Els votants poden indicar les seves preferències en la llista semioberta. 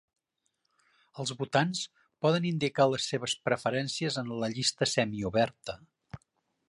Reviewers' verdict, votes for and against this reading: accepted, 2, 0